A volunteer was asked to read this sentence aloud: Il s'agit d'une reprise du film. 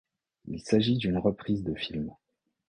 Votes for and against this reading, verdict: 1, 2, rejected